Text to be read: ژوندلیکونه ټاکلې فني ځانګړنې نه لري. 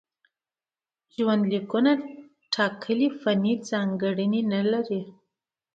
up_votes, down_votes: 2, 0